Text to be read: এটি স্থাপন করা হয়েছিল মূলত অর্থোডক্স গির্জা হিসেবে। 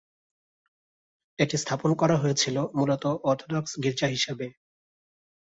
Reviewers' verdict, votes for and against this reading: accepted, 2, 1